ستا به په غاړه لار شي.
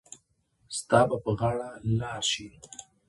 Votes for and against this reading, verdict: 1, 2, rejected